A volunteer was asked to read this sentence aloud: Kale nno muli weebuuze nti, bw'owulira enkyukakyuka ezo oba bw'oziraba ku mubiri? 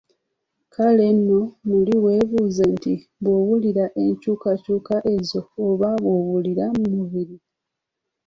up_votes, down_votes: 2, 1